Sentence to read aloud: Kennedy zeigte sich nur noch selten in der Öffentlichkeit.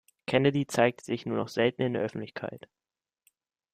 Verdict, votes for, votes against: rejected, 1, 2